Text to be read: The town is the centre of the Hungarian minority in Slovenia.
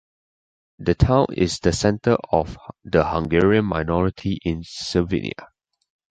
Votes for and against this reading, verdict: 2, 0, accepted